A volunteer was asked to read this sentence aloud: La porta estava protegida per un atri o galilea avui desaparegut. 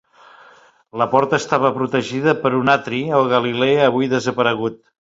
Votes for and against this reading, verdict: 3, 0, accepted